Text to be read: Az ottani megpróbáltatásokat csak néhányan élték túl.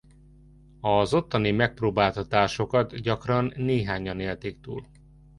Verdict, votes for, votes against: rejected, 0, 2